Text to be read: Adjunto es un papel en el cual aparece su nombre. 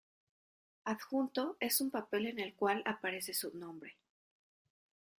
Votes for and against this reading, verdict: 2, 1, accepted